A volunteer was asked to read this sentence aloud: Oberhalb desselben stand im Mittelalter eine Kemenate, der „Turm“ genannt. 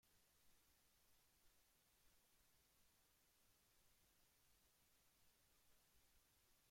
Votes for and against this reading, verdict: 0, 2, rejected